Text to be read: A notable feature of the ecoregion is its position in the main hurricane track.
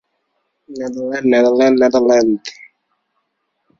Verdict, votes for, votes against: rejected, 0, 2